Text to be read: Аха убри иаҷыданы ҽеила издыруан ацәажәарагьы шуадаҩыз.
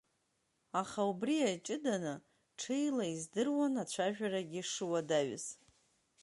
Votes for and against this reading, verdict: 2, 0, accepted